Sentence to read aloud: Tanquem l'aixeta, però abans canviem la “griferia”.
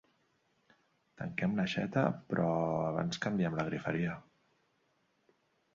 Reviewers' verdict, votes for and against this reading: accepted, 2, 0